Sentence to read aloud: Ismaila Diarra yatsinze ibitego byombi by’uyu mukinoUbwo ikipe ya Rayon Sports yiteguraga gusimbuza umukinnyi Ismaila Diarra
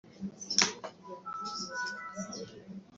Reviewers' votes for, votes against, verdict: 1, 3, rejected